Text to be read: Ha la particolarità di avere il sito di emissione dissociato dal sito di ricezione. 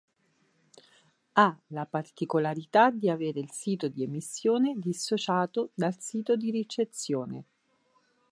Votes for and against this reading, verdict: 4, 0, accepted